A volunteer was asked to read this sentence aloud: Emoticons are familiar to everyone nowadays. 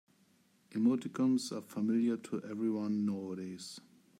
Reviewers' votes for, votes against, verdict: 2, 1, accepted